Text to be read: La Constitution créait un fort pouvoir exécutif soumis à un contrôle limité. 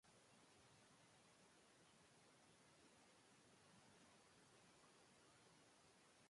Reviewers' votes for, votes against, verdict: 0, 2, rejected